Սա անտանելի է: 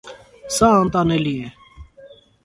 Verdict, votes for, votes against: accepted, 2, 0